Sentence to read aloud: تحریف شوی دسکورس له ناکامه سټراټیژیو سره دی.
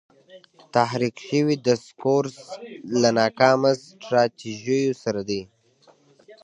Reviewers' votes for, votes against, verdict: 2, 0, accepted